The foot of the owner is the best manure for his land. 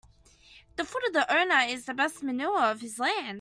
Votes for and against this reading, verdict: 1, 2, rejected